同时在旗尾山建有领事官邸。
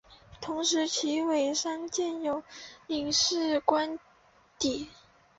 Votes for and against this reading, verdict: 2, 1, accepted